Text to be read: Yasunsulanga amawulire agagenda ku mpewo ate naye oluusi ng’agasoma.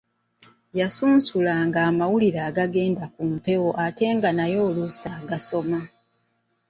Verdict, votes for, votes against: rejected, 1, 2